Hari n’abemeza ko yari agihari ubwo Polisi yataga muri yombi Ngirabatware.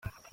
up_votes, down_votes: 0, 2